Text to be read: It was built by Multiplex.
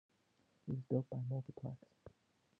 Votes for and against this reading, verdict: 1, 2, rejected